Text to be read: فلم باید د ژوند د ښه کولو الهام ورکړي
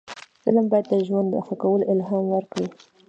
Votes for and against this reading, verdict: 1, 2, rejected